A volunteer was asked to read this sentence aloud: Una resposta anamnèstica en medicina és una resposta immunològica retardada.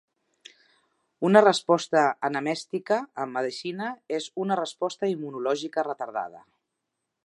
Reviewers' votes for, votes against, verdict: 0, 2, rejected